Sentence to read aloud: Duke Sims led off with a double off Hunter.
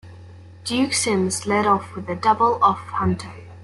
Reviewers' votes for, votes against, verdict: 2, 0, accepted